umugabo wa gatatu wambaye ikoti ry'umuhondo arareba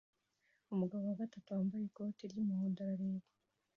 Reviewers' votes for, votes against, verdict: 2, 0, accepted